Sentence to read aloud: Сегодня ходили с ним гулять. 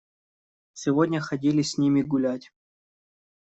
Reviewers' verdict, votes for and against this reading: rejected, 0, 2